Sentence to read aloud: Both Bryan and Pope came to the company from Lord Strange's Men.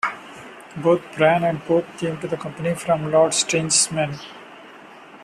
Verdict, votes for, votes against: accepted, 2, 1